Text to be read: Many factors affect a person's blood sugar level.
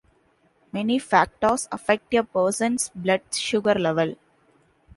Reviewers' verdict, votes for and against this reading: accepted, 2, 0